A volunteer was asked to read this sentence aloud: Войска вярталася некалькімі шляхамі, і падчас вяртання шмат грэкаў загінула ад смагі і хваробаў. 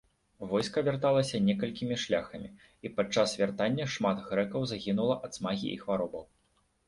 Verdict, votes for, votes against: rejected, 0, 2